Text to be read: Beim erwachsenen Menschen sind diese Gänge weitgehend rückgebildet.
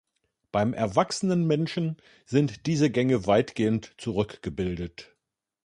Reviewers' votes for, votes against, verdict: 1, 2, rejected